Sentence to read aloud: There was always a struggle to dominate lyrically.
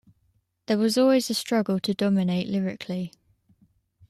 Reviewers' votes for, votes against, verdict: 2, 0, accepted